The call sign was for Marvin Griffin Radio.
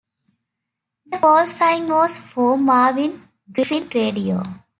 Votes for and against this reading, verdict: 0, 2, rejected